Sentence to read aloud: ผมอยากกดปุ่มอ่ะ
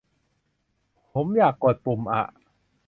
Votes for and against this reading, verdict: 2, 0, accepted